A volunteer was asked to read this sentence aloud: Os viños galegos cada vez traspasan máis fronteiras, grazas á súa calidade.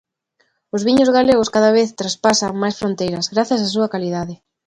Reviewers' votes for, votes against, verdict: 2, 0, accepted